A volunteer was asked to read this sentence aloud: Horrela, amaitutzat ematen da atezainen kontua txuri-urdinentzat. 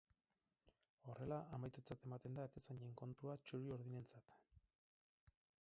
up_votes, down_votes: 4, 0